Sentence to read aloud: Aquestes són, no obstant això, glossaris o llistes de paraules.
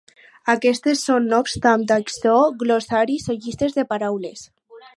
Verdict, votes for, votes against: accepted, 6, 0